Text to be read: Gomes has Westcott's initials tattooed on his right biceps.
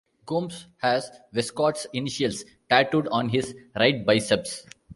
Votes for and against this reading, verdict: 1, 2, rejected